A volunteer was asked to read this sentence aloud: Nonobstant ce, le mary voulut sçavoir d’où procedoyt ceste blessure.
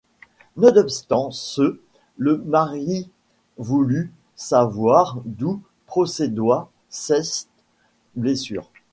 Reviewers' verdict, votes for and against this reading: rejected, 1, 2